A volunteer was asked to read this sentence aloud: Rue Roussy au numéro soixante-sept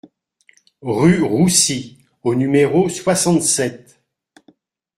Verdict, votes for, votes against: accepted, 2, 0